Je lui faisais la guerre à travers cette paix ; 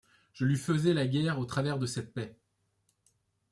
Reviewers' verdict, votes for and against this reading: rejected, 0, 2